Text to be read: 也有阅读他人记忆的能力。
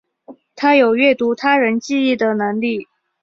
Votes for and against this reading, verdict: 2, 4, rejected